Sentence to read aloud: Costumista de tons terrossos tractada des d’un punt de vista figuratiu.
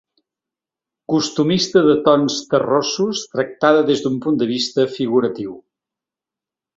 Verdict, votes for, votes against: accepted, 3, 0